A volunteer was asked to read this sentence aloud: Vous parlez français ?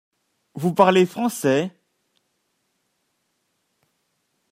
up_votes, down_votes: 2, 0